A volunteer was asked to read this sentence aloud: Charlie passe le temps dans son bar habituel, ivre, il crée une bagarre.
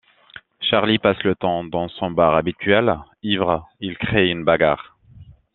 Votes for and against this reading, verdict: 2, 0, accepted